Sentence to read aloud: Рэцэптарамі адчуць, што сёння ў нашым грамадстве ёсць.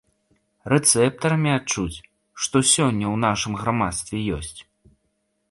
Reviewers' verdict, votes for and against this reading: accepted, 2, 1